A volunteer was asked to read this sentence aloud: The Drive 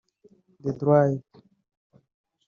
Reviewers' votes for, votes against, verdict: 1, 2, rejected